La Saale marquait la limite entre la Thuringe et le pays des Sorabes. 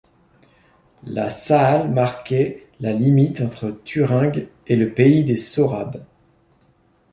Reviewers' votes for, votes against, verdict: 0, 2, rejected